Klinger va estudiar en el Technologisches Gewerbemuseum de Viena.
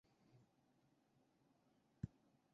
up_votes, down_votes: 0, 2